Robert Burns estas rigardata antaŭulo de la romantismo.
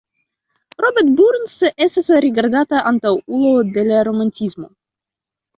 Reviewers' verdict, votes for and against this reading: rejected, 1, 2